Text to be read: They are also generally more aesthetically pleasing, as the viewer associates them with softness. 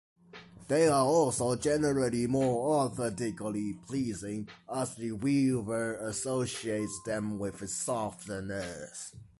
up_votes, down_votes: 0, 2